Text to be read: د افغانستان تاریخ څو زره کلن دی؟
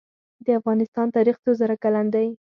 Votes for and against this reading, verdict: 0, 4, rejected